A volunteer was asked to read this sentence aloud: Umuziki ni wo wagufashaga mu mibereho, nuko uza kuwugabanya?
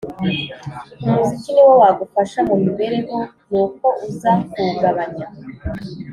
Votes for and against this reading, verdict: 2, 0, accepted